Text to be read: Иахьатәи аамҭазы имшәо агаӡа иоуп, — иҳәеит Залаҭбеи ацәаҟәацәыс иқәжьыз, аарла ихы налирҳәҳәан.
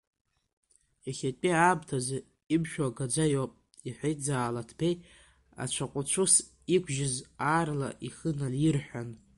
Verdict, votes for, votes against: rejected, 0, 2